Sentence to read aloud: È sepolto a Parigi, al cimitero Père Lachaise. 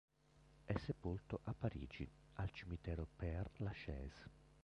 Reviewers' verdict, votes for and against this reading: rejected, 0, 2